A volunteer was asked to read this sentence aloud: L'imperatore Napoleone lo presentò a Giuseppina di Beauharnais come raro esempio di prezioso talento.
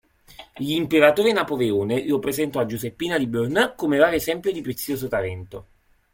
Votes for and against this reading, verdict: 1, 2, rejected